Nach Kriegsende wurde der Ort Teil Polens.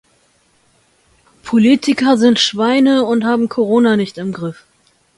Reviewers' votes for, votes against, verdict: 0, 2, rejected